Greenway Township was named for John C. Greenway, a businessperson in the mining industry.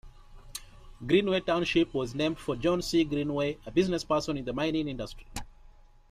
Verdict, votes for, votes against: accepted, 2, 1